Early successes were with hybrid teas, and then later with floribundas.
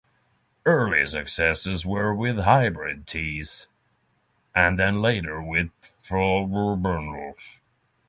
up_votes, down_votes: 3, 3